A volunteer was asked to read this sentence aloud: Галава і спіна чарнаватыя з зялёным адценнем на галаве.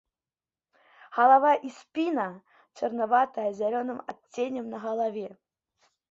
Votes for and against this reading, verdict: 0, 2, rejected